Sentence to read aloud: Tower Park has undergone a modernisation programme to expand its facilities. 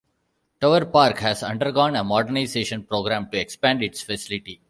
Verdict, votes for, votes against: rejected, 1, 2